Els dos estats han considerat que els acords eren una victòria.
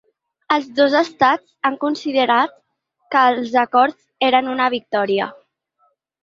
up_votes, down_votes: 3, 0